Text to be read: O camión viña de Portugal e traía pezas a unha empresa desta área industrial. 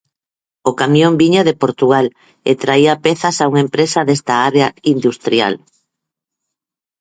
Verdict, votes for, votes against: accepted, 4, 0